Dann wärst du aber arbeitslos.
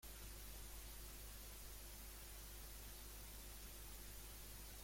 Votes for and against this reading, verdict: 0, 2, rejected